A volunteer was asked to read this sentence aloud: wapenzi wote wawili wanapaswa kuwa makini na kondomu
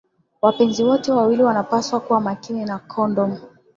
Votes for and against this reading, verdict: 3, 4, rejected